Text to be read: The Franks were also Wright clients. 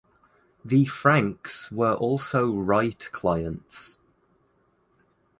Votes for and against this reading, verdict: 2, 0, accepted